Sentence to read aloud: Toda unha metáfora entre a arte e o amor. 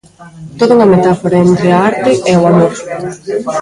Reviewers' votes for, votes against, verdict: 0, 2, rejected